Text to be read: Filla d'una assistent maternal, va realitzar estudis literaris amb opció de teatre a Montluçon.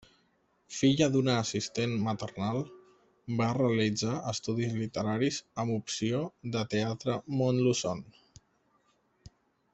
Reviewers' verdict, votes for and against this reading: rejected, 0, 2